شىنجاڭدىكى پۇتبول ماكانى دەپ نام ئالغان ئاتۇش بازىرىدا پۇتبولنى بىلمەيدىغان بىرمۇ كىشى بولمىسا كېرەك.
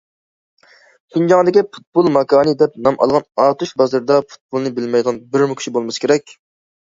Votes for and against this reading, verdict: 2, 0, accepted